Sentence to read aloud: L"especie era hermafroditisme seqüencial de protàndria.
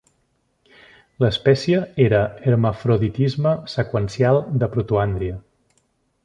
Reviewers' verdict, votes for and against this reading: rejected, 0, 2